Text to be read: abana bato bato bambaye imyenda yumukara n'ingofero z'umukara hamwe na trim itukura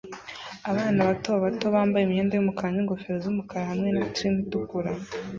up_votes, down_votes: 2, 0